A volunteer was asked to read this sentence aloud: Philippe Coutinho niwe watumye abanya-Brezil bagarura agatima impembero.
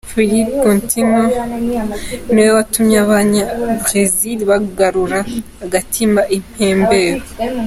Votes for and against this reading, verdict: 2, 0, accepted